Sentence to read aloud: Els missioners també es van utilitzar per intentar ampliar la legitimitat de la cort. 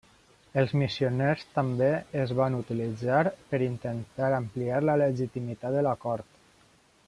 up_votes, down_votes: 1, 2